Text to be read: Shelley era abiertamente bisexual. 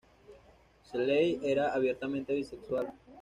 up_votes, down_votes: 0, 2